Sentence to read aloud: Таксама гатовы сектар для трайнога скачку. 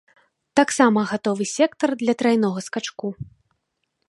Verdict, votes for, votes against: accepted, 2, 0